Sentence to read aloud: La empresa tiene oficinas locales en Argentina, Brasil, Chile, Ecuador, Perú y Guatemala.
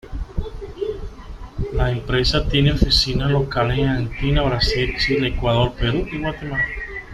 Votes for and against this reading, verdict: 0, 2, rejected